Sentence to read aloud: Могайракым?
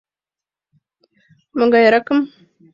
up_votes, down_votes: 2, 0